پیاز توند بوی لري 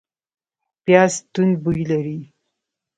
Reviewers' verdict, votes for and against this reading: rejected, 1, 2